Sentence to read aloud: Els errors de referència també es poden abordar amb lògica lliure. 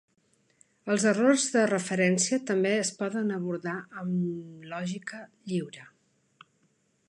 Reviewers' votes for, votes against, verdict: 3, 0, accepted